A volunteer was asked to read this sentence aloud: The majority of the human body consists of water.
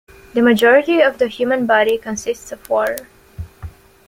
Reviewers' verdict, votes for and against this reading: accepted, 2, 0